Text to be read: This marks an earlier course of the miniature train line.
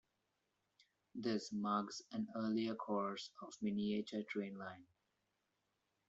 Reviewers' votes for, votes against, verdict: 1, 2, rejected